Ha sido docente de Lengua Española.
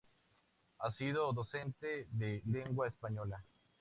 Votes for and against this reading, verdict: 4, 0, accepted